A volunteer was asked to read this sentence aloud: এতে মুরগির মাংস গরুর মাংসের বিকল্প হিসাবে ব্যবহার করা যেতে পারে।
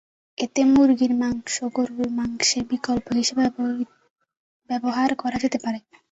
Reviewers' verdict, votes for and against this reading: rejected, 1, 2